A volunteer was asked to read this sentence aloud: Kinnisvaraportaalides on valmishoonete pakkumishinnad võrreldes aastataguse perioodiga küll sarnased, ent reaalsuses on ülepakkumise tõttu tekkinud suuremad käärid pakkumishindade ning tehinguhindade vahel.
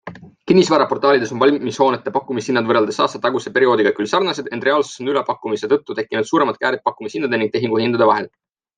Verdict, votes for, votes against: accepted, 3, 0